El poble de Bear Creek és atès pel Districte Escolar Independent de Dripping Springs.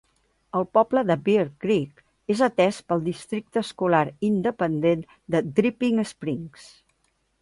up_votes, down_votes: 2, 0